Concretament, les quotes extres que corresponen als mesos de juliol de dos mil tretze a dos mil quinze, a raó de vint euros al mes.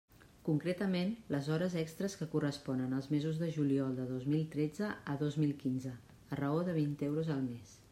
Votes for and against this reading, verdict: 0, 2, rejected